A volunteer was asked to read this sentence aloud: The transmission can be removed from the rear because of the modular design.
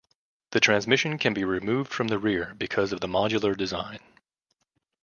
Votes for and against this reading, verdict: 2, 0, accepted